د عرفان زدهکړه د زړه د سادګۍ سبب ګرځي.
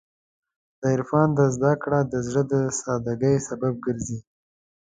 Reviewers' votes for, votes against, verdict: 2, 0, accepted